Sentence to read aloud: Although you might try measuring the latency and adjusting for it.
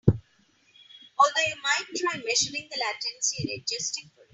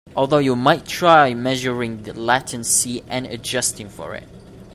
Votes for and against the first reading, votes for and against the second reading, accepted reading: 3, 4, 2, 0, second